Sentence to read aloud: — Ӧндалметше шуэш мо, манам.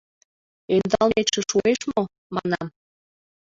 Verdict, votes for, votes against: accepted, 2, 1